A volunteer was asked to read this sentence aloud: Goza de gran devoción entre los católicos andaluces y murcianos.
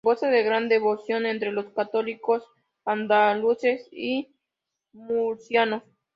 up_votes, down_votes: 2, 0